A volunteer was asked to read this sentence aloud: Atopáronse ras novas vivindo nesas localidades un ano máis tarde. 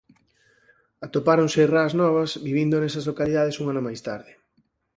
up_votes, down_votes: 2, 4